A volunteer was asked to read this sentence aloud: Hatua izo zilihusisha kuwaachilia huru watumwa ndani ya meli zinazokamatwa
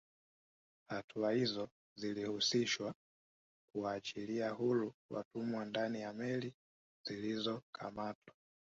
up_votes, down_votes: 3, 2